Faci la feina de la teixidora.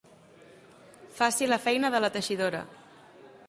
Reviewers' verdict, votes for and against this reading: accepted, 3, 0